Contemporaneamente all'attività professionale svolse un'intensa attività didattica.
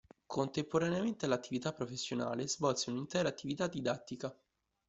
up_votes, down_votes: 0, 2